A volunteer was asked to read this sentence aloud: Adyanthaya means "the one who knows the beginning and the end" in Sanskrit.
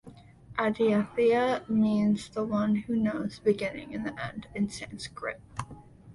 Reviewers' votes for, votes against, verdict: 2, 0, accepted